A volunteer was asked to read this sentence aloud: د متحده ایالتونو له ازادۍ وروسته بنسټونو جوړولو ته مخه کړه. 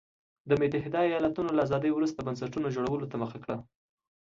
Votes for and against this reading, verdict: 2, 0, accepted